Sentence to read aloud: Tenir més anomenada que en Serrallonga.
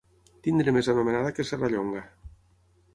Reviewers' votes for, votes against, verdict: 0, 6, rejected